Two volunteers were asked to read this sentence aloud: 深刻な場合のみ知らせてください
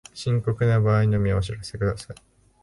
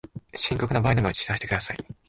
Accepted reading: second